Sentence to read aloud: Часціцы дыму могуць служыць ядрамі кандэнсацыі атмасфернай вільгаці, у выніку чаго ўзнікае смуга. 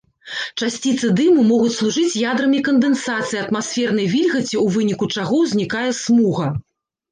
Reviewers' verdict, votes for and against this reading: rejected, 1, 2